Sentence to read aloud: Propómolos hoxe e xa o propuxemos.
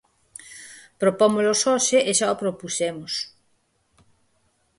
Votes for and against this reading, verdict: 4, 0, accepted